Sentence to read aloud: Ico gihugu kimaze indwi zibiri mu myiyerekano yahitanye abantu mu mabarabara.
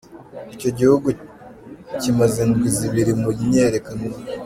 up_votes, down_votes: 0, 2